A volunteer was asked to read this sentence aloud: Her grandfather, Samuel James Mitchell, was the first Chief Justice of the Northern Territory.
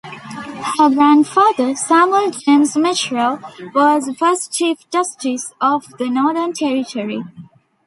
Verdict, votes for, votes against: rejected, 0, 2